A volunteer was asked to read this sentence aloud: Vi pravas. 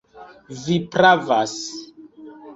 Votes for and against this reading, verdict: 2, 0, accepted